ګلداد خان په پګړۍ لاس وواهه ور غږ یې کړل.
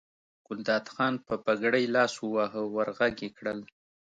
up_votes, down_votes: 2, 0